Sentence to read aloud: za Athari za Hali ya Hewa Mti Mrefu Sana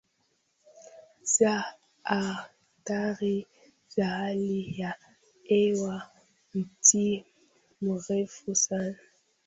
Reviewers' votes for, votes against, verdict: 0, 2, rejected